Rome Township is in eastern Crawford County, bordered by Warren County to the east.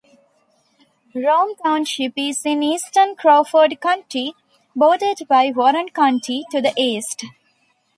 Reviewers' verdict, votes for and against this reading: accepted, 2, 0